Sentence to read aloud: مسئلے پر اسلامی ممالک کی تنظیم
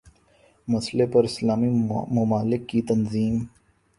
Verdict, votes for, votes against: accepted, 12, 0